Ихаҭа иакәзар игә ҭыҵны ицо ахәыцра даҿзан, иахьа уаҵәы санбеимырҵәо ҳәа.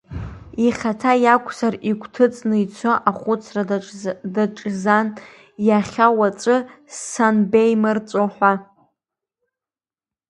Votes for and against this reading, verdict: 0, 2, rejected